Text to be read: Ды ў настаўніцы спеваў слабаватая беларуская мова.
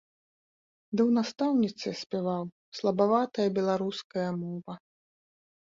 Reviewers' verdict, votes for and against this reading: rejected, 1, 2